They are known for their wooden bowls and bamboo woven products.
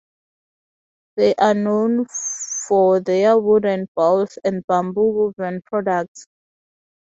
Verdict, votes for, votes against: accepted, 4, 0